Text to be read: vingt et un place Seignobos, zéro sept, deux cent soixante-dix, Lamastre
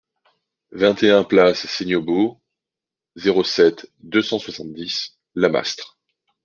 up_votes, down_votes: 2, 0